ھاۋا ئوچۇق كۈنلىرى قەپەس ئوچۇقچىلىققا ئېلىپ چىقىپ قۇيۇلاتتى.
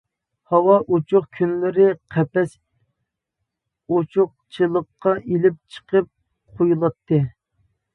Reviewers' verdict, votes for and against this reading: accepted, 2, 0